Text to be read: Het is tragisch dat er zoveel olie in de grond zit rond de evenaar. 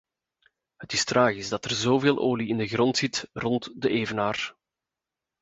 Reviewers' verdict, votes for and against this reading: accepted, 2, 0